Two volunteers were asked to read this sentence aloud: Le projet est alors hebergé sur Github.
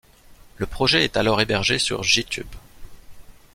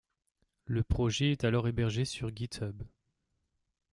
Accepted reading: second